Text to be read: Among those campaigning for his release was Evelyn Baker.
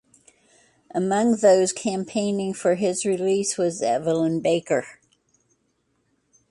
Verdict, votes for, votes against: accepted, 2, 0